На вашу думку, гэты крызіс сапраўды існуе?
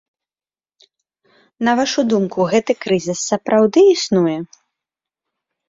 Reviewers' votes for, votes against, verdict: 1, 2, rejected